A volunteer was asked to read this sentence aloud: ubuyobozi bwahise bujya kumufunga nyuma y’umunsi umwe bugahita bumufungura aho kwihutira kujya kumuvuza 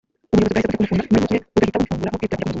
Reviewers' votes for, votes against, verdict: 1, 3, rejected